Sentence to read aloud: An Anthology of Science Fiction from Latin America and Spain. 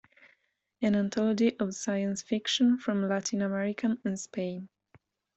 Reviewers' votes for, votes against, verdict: 0, 2, rejected